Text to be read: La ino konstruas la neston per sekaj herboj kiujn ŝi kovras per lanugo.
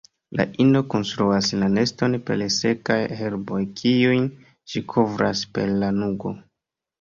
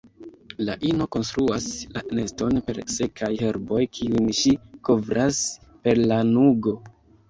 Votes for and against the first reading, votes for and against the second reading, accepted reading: 2, 1, 1, 2, first